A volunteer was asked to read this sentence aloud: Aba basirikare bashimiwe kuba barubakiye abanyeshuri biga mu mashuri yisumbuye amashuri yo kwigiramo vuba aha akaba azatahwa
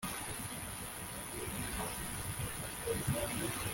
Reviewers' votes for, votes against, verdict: 0, 2, rejected